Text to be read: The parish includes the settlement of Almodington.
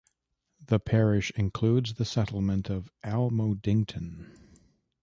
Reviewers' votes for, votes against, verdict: 2, 0, accepted